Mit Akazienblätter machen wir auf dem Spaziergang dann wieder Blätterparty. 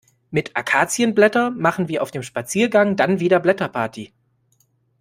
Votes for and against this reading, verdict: 2, 0, accepted